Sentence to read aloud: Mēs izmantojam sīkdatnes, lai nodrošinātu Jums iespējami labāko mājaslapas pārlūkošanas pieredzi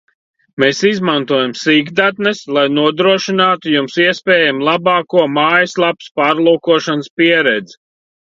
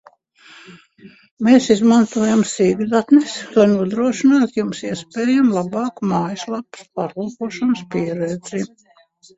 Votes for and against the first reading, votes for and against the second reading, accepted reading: 2, 0, 0, 2, first